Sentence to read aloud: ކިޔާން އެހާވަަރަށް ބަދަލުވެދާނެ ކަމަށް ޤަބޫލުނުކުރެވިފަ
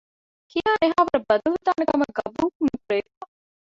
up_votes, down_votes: 0, 2